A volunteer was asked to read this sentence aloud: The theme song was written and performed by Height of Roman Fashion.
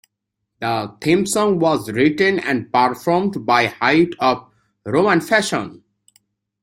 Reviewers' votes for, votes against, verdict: 2, 0, accepted